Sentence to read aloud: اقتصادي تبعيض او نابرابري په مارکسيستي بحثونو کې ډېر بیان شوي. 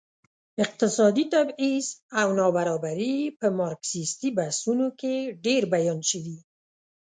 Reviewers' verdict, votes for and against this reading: accepted, 2, 0